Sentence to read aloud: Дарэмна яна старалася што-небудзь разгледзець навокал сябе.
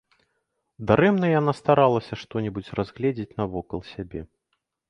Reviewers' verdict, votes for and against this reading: accepted, 2, 0